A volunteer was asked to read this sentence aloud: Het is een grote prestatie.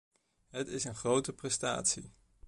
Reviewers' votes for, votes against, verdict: 2, 0, accepted